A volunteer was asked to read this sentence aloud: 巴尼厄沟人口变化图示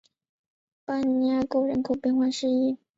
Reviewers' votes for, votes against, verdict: 3, 2, accepted